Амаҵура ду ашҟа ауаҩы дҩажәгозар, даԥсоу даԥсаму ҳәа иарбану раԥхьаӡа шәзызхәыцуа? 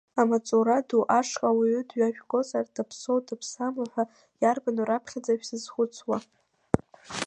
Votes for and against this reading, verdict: 0, 2, rejected